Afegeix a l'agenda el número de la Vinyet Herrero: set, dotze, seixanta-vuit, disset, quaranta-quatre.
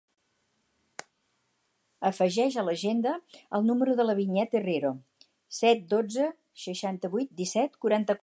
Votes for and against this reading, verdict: 0, 4, rejected